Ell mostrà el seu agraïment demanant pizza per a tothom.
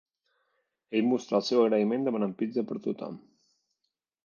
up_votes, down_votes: 2, 0